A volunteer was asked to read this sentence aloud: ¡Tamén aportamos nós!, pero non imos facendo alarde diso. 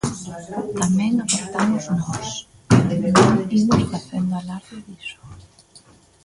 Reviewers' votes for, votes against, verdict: 1, 2, rejected